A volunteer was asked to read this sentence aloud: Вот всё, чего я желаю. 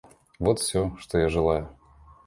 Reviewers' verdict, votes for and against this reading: rejected, 0, 2